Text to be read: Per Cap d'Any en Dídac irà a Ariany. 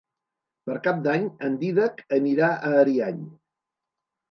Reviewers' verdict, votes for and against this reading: rejected, 1, 2